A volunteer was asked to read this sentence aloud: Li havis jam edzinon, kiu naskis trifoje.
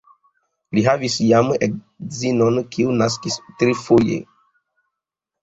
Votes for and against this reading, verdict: 1, 2, rejected